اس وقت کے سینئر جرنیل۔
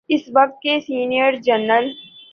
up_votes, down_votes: 2, 0